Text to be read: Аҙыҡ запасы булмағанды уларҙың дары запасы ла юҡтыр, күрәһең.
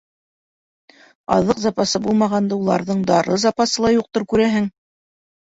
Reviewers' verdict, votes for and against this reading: accepted, 2, 0